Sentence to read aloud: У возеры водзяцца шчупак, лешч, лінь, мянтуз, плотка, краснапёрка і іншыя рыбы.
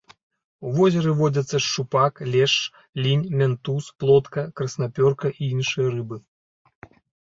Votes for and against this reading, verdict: 2, 0, accepted